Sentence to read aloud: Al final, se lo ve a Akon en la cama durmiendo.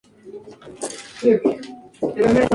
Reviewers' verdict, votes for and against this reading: rejected, 2, 2